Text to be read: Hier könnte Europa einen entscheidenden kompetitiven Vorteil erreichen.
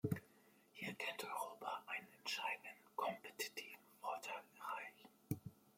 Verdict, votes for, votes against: accepted, 2, 0